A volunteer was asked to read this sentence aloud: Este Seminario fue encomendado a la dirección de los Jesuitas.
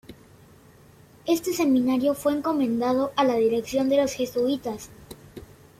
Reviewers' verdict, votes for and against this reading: accepted, 2, 0